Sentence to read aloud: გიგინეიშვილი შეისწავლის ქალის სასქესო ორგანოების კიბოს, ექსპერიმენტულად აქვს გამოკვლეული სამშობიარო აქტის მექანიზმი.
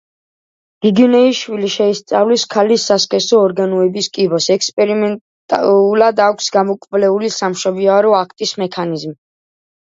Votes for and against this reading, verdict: 0, 2, rejected